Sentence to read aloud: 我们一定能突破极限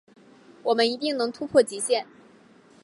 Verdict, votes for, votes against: accepted, 2, 0